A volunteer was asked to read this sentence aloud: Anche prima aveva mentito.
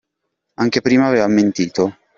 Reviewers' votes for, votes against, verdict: 2, 0, accepted